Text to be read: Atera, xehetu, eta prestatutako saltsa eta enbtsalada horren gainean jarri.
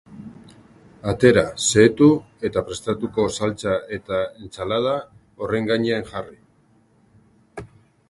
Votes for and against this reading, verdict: 0, 3, rejected